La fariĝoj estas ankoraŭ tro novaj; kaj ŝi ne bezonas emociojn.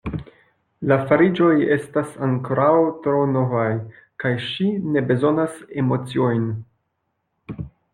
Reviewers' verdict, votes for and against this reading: rejected, 1, 2